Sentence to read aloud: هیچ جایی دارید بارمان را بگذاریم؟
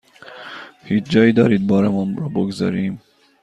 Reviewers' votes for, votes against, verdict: 1, 2, rejected